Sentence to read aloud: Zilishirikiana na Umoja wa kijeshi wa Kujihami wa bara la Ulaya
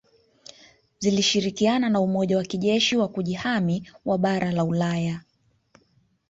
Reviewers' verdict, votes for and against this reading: rejected, 1, 2